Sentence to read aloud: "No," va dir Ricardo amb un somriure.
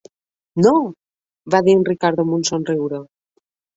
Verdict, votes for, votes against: rejected, 0, 2